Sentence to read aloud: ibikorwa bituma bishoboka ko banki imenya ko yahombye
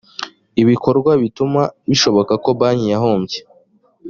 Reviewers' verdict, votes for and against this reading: rejected, 1, 2